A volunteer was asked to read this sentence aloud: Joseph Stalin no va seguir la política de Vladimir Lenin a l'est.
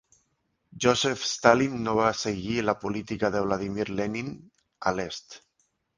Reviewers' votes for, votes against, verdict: 2, 0, accepted